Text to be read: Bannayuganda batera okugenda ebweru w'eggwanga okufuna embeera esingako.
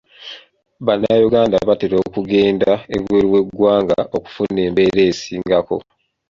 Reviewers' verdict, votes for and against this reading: accepted, 2, 0